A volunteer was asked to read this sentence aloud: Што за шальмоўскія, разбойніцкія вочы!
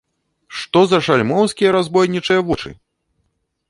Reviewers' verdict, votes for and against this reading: rejected, 0, 2